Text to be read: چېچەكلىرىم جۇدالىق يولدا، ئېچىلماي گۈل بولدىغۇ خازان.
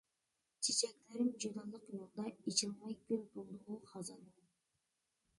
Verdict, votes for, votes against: accepted, 2, 1